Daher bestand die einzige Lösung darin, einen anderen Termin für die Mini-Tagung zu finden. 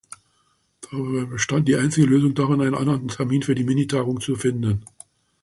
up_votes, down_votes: 2, 1